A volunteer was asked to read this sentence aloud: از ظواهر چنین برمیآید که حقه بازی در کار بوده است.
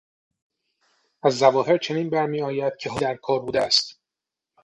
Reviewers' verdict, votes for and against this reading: rejected, 3, 3